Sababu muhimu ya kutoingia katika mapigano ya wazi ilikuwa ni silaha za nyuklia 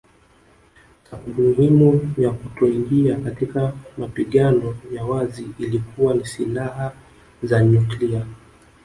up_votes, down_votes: 5, 2